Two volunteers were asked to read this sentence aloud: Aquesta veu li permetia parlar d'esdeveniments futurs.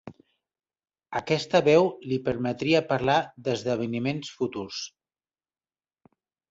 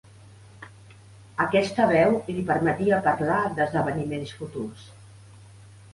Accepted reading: second